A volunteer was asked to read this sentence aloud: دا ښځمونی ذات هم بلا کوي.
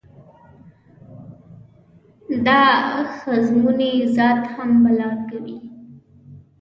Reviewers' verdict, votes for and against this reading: rejected, 0, 2